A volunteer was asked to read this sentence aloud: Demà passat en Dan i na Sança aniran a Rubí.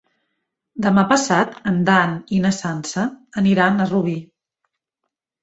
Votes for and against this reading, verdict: 3, 0, accepted